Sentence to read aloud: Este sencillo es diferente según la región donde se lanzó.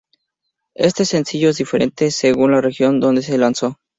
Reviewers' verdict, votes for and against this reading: accepted, 4, 0